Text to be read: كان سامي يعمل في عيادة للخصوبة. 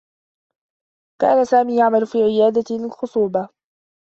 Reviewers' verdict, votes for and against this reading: accepted, 2, 0